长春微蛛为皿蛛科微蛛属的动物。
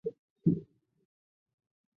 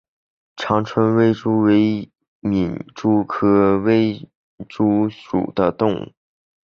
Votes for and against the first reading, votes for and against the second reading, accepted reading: 0, 3, 4, 0, second